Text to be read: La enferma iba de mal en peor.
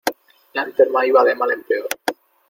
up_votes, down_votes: 2, 0